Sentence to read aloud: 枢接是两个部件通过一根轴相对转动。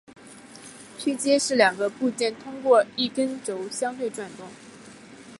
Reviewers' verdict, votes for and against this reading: accepted, 2, 1